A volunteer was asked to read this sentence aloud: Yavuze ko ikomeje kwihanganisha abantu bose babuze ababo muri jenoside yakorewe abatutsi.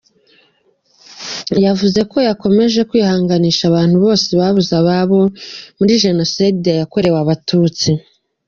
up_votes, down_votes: 2, 0